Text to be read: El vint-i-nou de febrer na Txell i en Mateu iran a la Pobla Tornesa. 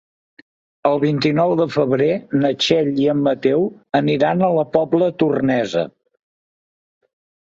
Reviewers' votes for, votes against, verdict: 0, 2, rejected